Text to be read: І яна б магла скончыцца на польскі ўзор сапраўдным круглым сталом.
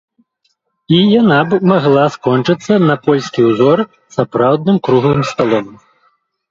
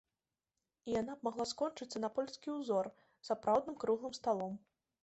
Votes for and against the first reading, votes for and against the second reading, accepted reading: 1, 3, 2, 0, second